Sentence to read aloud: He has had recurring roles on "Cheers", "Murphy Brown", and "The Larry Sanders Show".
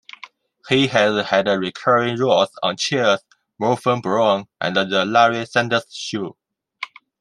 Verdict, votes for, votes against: rejected, 0, 2